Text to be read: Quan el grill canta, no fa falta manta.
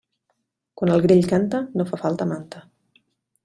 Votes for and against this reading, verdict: 3, 0, accepted